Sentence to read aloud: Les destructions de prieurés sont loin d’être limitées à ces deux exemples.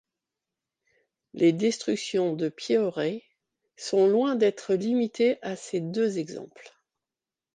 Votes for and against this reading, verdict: 1, 2, rejected